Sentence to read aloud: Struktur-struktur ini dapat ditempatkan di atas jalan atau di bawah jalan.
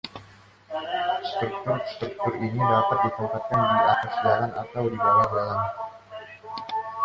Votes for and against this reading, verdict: 1, 2, rejected